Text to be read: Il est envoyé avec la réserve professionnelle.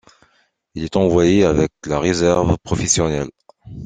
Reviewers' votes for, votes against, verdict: 2, 0, accepted